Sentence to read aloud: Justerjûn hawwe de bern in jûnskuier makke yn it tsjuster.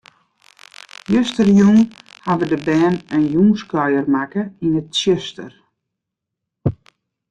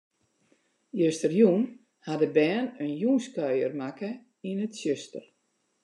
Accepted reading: second